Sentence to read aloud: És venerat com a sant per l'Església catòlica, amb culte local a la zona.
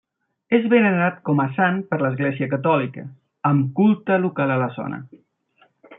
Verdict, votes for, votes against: accepted, 2, 0